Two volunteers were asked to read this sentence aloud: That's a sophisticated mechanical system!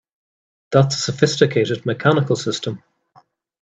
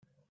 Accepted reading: first